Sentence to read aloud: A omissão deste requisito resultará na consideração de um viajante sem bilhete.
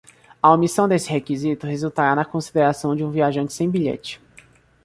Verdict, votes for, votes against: rejected, 0, 2